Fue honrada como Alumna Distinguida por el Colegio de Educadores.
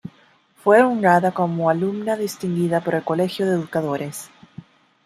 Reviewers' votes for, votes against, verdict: 2, 0, accepted